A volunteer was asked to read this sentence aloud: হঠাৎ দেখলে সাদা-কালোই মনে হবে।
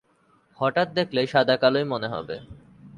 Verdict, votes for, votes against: accepted, 8, 0